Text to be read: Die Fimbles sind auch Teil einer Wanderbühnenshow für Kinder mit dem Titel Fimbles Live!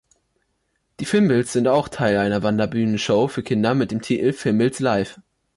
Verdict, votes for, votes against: accepted, 2, 1